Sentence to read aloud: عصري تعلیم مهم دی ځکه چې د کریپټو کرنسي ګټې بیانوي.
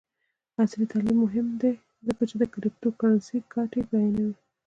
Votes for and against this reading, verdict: 2, 0, accepted